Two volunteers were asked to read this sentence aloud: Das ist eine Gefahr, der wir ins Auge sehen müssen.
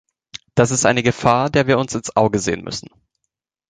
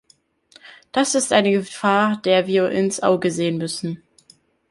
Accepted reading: second